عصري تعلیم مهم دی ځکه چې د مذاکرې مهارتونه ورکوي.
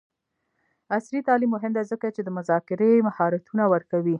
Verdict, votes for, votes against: accepted, 2, 1